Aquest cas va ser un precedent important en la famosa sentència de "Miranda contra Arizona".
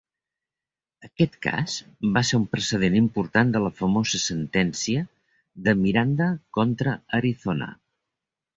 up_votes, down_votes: 0, 2